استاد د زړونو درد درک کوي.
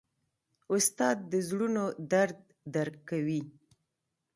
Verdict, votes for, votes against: accepted, 2, 0